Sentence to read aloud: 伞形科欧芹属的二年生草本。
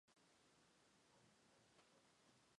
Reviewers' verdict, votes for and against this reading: rejected, 1, 2